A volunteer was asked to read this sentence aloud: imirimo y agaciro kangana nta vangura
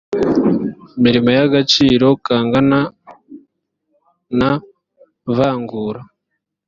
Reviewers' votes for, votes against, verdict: 2, 0, accepted